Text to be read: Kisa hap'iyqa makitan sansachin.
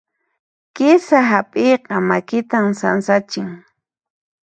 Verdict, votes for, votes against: accepted, 2, 0